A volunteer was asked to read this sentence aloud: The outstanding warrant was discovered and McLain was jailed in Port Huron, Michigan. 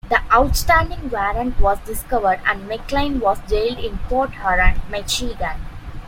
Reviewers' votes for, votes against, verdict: 2, 0, accepted